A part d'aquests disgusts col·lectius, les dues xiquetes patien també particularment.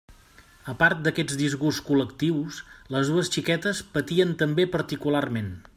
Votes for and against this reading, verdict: 2, 0, accepted